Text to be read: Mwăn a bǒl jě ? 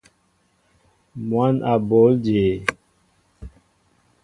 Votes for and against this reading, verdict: 2, 0, accepted